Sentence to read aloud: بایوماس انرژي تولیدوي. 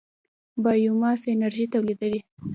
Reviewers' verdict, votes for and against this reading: rejected, 0, 2